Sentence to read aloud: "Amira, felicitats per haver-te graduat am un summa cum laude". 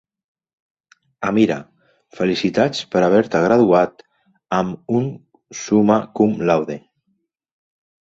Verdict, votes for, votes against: accepted, 2, 0